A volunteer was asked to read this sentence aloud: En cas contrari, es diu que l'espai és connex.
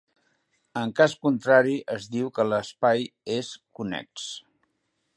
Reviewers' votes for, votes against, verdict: 2, 0, accepted